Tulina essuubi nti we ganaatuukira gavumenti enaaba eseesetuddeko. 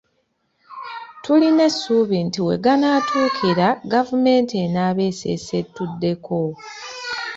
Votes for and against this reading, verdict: 2, 0, accepted